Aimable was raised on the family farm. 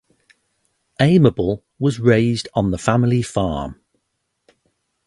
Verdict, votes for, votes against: accepted, 4, 0